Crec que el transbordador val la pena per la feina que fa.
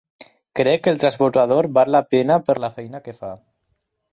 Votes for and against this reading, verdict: 4, 0, accepted